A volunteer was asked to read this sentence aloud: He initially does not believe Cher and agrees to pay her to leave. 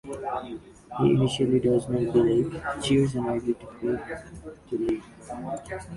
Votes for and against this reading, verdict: 0, 2, rejected